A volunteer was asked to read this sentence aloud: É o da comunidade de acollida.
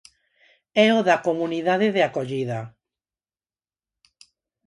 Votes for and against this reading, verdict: 4, 0, accepted